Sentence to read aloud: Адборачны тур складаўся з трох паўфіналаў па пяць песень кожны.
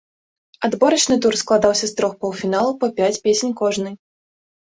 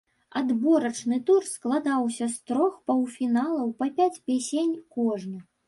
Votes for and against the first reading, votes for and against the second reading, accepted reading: 2, 0, 1, 2, first